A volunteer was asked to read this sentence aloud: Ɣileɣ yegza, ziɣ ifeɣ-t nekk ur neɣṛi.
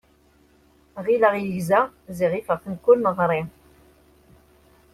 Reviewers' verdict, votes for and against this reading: accepted, 2, 0